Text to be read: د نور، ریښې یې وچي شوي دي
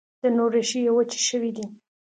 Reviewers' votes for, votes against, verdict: 2, 0, accepted